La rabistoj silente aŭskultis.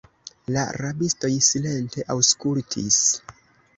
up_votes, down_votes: 0, 2